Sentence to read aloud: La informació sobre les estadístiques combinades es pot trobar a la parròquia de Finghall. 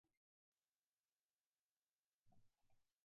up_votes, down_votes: 0, 2